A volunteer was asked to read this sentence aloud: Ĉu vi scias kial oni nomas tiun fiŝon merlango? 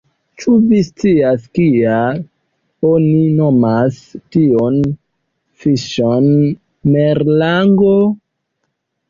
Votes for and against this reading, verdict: 2, 1, accepted